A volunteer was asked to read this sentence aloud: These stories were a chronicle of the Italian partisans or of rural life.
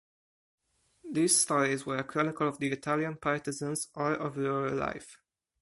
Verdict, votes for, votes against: rejected, 2, 4